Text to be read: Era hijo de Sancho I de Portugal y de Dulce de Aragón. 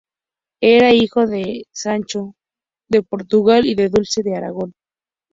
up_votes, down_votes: 0, 2